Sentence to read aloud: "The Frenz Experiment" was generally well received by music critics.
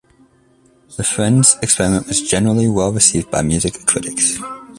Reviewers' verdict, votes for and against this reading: accepted, 2, 0